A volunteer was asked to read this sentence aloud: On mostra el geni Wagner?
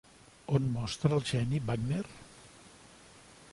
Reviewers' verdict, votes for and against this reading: rejected, 1, 2